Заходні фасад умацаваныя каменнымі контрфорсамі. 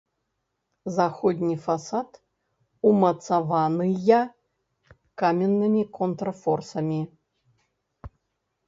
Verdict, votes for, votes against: rejected, 1, 2